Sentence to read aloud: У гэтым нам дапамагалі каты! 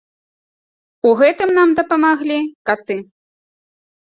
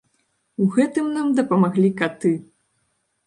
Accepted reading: first